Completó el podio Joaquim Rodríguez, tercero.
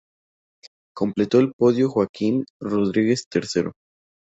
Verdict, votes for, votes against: accepted, 2, 0